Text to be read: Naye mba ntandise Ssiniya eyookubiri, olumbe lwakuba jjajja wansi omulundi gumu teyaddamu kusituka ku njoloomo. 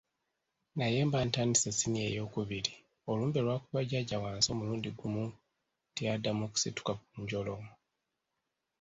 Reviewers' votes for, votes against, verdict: 1, 2, rejected